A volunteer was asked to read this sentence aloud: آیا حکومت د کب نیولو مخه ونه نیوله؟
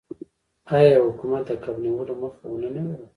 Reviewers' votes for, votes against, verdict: 1, 2, rejected